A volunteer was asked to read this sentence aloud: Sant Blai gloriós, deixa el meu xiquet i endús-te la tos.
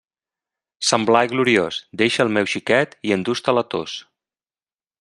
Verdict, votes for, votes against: accepted, 2, 0